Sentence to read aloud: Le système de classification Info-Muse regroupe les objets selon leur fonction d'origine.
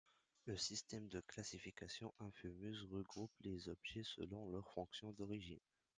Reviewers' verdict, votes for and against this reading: accepted, 2, 1